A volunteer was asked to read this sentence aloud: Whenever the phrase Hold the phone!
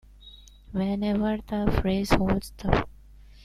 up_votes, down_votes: 0, 2